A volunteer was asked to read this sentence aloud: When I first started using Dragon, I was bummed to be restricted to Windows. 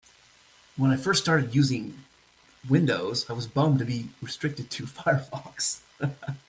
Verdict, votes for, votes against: rejected, 0, 2